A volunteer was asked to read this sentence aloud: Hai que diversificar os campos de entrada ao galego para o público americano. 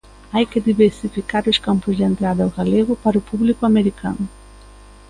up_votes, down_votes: 2, 0